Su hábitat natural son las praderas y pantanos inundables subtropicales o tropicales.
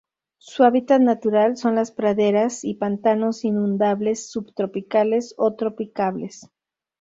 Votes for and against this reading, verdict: 2, 2, rejected